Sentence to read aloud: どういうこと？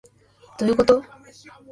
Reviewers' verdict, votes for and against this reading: rejected, 1, 2